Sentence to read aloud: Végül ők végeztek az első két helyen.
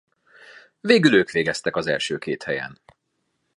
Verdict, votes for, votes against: accepted, 2, 0